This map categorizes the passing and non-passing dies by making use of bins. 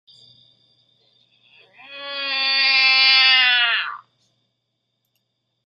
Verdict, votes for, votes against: rejected, 0, 2